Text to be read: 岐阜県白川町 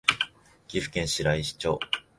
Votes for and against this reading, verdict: 0, 2, rejected